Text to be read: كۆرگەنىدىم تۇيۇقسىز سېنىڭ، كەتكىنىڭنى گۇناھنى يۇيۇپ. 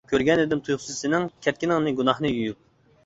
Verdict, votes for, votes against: accepted, 2, 0